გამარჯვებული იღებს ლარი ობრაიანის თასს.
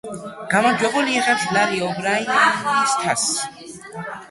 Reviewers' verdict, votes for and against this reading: rejected, 1, 2